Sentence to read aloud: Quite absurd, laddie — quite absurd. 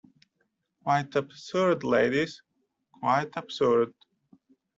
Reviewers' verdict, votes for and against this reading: rejected, 0, 2